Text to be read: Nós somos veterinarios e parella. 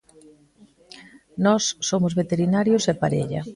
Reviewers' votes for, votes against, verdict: 2, 0, accepted